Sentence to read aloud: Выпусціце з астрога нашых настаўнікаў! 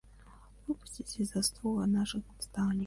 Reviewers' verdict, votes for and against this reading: rejected, 1, 2